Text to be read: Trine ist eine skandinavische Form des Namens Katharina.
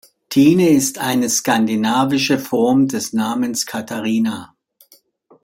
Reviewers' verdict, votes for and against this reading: rejected, 1, 2